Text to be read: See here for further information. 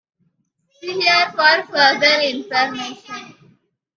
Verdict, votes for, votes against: accepted, 2, 0